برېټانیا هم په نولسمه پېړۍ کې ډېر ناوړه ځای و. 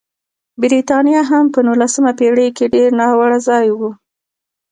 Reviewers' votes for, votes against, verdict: 2, 1, accepted